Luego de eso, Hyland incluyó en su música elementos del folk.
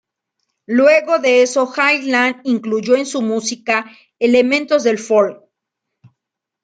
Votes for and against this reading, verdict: 2, 0, accepted